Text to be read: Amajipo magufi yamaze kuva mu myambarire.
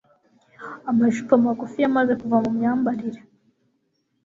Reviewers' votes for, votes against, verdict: 3, 0, accepted